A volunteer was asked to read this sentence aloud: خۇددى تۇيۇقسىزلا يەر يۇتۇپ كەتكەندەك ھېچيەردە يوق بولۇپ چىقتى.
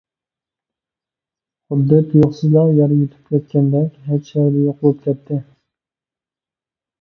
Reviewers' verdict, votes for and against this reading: rejected, 0, 2